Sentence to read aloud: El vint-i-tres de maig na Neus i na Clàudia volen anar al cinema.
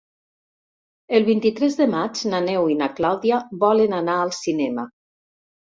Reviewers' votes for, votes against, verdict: 1, 2, rejected